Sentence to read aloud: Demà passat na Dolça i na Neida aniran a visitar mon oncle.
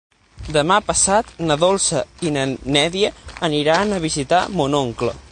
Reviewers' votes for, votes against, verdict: 0, 6, rejected